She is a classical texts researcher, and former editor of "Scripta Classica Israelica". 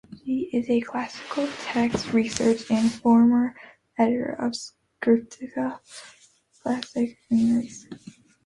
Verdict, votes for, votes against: rejected, 0, 2